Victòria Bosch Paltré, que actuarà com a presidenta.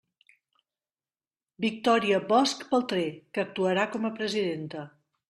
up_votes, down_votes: 1, 2